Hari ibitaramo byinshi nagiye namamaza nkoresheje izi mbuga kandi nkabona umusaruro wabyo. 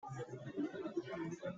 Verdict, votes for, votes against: rejected, 0, 2